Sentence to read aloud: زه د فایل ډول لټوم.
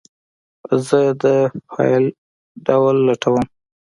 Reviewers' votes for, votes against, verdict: 2, 0, accepted